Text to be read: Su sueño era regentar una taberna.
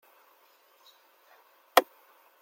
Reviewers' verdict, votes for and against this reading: rejected, 0, 2